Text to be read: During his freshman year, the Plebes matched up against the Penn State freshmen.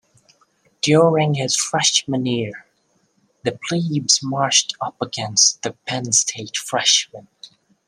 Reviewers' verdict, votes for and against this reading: rejected, 0, 2